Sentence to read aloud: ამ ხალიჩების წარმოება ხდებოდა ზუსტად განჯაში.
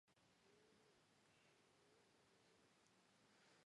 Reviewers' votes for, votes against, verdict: 0, 2, rejected